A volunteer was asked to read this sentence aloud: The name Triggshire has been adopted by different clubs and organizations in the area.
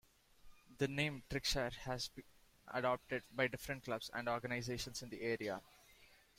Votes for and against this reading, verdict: 2, 1, accepted